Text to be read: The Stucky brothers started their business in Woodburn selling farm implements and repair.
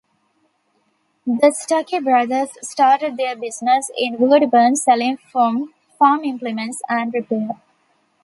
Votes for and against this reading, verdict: 0, 2, rejected